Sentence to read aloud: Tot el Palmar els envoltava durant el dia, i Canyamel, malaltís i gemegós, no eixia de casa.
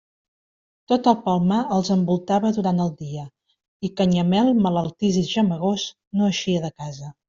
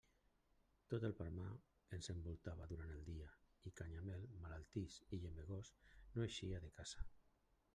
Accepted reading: first